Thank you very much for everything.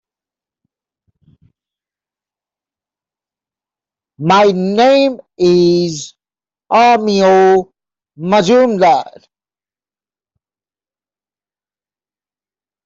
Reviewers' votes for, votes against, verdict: 0, 2, rejected